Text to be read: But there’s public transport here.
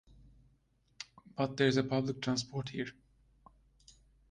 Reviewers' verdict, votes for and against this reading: rejected, 0, 2